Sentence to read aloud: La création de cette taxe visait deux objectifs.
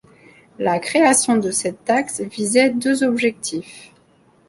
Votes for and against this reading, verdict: 2, 0, accepted